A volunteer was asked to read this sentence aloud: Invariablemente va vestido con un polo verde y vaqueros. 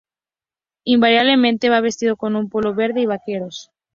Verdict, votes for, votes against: rejected, 0, 2